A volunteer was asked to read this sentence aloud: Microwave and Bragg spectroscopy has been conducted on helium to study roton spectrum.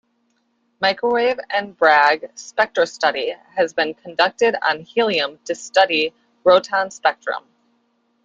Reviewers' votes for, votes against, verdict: 1, 2, rejected